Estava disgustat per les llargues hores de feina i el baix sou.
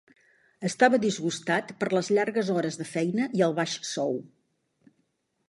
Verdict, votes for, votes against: accepted, 2, 0